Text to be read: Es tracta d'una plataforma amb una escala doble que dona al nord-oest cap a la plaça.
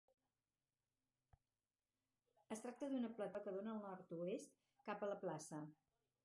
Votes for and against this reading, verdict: 0, 4, rejected